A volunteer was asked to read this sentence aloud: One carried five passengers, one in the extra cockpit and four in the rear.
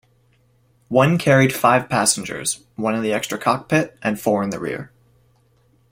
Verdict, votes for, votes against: accepted, 2, 0